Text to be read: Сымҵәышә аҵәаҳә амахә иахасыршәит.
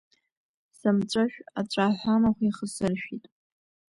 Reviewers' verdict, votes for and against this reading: accepted, 2, 0